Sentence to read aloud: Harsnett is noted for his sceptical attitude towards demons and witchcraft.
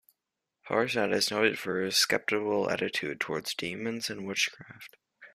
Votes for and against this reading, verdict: 2, 1, accepted